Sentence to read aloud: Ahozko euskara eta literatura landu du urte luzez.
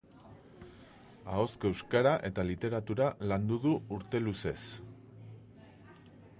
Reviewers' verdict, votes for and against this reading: accepted, 3, 0